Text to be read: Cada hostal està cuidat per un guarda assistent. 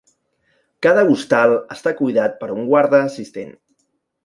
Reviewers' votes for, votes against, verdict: 2, 0, accepted